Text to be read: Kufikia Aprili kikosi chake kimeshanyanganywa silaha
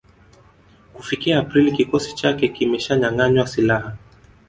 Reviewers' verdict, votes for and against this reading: rejected, 1, 2